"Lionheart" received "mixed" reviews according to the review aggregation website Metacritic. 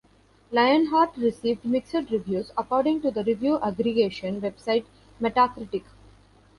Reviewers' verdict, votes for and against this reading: rejected, 1, 2